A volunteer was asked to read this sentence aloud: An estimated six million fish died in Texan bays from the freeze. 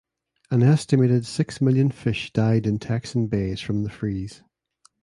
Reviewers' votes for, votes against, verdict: 2, 0, accepted